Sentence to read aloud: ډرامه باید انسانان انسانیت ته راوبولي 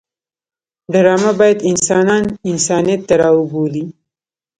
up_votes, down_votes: 1, 2